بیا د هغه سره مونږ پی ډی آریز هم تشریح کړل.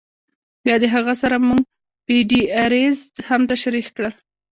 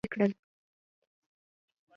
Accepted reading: first